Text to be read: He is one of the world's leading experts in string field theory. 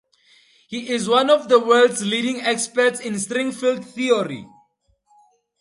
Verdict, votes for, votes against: accepted, 2, 0